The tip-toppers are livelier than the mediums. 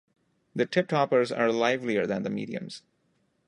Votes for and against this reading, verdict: 2, 0, accepted